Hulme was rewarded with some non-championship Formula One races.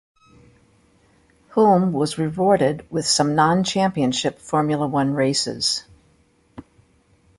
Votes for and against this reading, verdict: 0, 2, rejected